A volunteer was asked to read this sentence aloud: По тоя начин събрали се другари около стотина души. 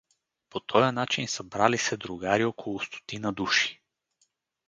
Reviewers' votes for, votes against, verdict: 2, 2, rejected